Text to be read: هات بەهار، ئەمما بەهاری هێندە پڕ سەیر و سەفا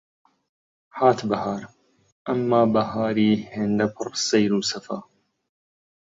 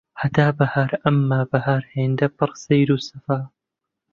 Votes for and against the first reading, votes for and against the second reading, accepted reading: 2, 1, 0, 2, first